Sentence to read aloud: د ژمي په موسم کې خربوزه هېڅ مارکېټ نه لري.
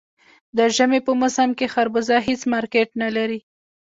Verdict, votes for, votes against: accepted, 2, 0